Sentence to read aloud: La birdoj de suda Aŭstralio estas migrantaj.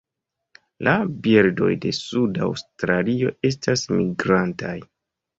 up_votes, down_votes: 3, 0